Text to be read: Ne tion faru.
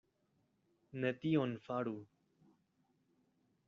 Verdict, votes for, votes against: rejected, 1, 2